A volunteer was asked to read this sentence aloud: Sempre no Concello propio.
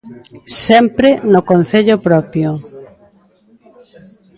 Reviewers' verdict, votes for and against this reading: accepted, 2, 0